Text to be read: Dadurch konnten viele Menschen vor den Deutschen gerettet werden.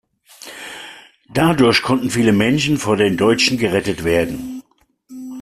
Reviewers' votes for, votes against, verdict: 2, 0, accepted